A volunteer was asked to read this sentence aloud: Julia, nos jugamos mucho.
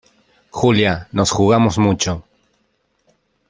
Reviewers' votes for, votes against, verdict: 2, 0, accepted